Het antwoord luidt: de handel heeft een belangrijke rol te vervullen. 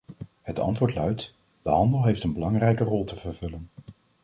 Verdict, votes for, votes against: accepted, 2, 0